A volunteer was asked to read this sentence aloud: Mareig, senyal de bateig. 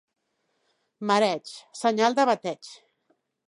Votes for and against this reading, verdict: 3, 0, accepted